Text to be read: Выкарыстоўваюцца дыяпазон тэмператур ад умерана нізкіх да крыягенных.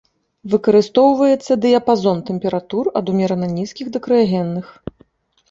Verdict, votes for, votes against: accepted, 2, 1